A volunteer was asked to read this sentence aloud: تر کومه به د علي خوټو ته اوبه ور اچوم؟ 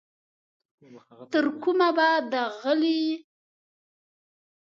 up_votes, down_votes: 1, 2